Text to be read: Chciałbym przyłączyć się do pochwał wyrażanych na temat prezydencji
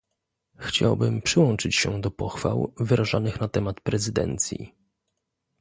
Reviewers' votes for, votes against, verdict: 2, 0, accepted